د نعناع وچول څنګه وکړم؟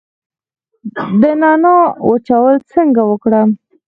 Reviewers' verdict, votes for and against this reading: accepted, 4, 2